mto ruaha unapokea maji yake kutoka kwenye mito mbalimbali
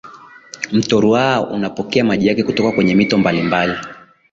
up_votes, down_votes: 6, 0